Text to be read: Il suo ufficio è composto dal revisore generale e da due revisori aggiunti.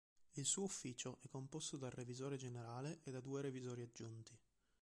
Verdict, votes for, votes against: accepted, 3, 1